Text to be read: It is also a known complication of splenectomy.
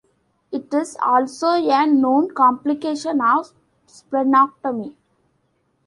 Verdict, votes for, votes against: rejected, 1, 2